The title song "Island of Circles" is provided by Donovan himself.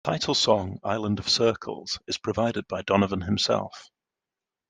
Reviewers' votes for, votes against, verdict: 2, 0, accepted